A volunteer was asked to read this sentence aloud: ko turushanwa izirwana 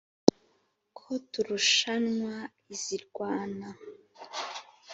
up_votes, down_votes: 3, 0